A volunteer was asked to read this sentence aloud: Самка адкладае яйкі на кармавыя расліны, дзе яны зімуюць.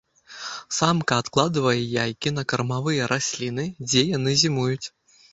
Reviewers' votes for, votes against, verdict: 0, 2, rejected